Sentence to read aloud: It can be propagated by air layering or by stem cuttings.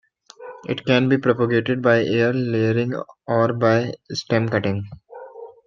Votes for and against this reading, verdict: 1, 2, rejected